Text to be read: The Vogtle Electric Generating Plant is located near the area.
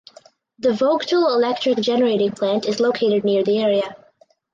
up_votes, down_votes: 4, 0